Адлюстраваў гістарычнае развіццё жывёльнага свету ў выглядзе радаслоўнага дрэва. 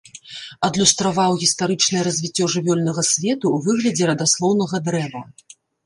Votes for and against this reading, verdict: 1, 2, rejected